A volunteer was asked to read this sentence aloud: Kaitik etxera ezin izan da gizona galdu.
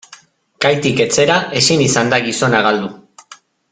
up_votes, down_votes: 2, 0